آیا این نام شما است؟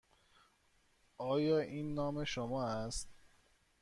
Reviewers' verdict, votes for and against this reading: accepted, 2, 0